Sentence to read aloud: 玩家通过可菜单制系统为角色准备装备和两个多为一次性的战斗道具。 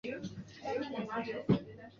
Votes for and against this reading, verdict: 0, 4, rejected